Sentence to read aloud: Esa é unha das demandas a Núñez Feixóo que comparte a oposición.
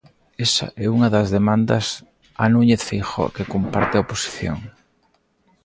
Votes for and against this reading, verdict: 1, 2, rejected